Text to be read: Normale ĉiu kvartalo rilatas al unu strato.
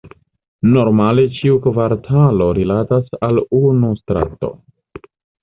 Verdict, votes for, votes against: accepted, 2, 1